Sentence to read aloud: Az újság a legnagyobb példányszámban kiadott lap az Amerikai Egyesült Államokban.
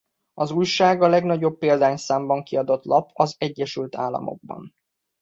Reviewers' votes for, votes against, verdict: 0, 2, rejected